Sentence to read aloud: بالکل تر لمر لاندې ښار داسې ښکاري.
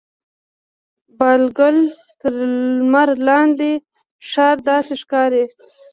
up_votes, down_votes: 1, 2